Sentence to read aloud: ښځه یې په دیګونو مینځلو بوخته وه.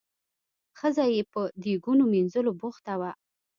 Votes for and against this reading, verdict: 2, 0, accepted